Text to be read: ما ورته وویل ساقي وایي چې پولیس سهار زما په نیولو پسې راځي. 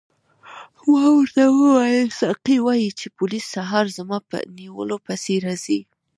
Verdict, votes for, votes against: accepted, 2, 1